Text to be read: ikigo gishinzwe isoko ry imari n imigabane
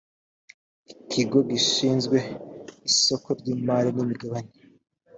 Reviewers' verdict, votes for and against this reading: accepted, 2, 0